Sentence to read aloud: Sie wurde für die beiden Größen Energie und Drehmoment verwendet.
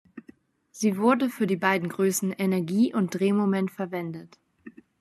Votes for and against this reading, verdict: 2, 0, accepted